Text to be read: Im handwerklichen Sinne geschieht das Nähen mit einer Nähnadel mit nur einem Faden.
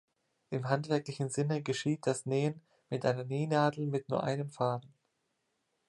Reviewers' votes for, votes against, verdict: 2, 1, accepted